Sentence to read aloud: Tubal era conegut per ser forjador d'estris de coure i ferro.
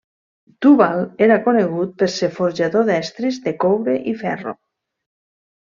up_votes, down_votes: 2, 0